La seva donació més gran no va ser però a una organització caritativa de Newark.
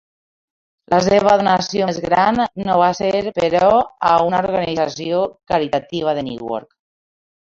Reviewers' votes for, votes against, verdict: 0, 2, rejected